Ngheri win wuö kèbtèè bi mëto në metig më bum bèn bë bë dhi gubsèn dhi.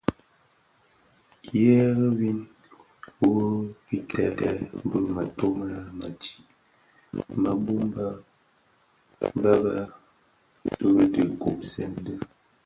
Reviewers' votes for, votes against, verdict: 2, 0, accepted